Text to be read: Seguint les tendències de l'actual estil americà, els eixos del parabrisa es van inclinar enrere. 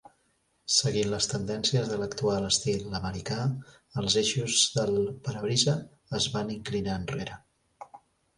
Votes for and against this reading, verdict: 2, 0, accepted